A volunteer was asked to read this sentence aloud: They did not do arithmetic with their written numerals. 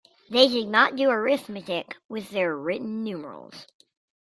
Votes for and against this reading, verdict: 2, 0, accepted